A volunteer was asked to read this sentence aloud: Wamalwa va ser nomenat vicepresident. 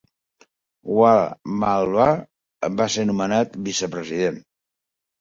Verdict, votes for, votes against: accepted, 6, 0